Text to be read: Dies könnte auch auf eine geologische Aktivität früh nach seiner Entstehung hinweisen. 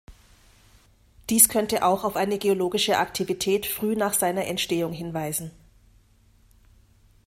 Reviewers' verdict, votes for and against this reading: accepted, 2, 0